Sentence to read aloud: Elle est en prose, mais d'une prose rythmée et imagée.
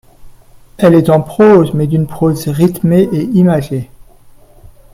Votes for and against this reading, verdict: 0, 2, rejected